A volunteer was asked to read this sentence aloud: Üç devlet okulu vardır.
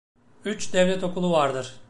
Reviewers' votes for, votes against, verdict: 2, 0, accepted